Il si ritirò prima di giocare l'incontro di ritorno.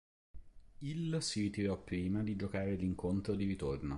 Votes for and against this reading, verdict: 1, 2, rejected